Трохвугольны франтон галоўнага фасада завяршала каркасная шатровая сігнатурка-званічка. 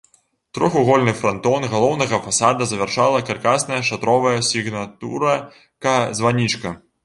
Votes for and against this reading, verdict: 0, 2, rejected